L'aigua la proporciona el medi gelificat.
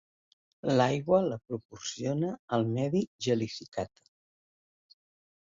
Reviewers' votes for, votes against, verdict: 3, 0, accepted